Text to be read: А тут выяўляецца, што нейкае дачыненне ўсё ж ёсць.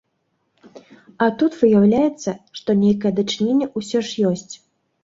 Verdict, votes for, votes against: accepted, 2, 0